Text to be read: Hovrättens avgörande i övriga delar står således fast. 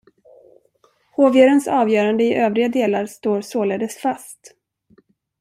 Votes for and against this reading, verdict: 1, 2, rejected